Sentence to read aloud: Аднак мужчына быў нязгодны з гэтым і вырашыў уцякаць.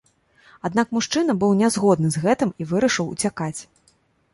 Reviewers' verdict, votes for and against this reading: accepted, 2, 0